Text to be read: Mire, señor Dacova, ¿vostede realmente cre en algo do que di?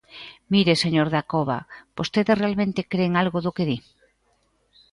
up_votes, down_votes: 2, 0